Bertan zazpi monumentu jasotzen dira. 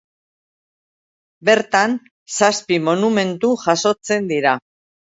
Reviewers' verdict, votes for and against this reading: accepted, 2, 0